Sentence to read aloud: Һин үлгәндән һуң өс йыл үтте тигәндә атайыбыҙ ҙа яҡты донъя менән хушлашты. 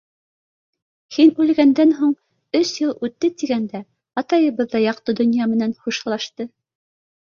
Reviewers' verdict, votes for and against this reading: accepted, 2, 0